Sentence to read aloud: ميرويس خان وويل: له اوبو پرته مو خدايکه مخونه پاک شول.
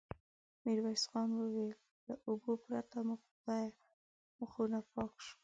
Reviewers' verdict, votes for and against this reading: rejected, 0, 2